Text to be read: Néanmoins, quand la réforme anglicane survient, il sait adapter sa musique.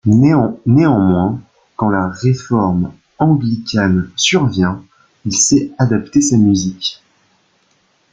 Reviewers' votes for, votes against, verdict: 1, 2, rejected